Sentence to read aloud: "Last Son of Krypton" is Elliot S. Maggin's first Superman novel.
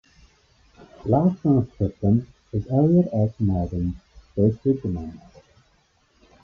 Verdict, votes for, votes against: rejected, 1, 2